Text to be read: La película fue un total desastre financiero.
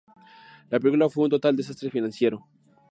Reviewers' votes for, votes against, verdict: 4, 0, accepted